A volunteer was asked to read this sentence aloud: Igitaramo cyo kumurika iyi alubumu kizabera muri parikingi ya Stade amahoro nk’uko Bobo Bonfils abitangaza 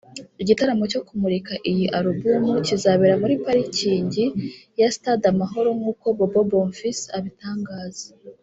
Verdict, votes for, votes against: accepted, 3, 0